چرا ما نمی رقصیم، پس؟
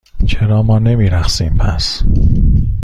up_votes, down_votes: 2, 0